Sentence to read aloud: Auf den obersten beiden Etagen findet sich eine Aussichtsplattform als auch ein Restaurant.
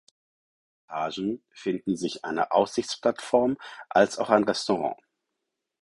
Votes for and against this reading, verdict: 2, 4, rejected